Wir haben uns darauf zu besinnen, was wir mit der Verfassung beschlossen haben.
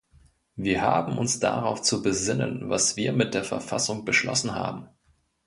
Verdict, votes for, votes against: accepted, 2, 0